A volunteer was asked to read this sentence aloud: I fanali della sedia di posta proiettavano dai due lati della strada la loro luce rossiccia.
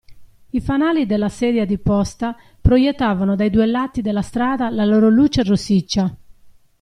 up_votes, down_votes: 2, 0